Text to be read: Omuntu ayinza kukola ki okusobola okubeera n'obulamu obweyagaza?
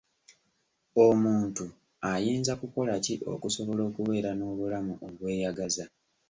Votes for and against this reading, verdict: 2, 0, accepted